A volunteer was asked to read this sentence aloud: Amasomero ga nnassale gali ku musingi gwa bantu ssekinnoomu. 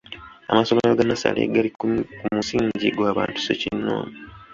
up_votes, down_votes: 1, 2